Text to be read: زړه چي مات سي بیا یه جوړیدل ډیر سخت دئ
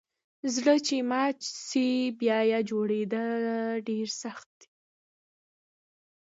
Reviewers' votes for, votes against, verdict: 1, 2, rejected